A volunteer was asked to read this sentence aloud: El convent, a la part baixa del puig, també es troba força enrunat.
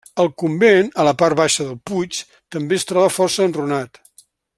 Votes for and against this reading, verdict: 2, 0, accepted